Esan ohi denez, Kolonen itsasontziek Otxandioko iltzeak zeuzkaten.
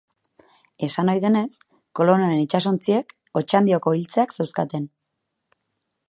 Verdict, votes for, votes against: accepted, 2, 0